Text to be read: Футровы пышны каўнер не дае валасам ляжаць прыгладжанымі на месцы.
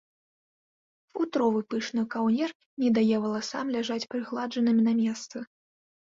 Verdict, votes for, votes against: rejected, 0, 2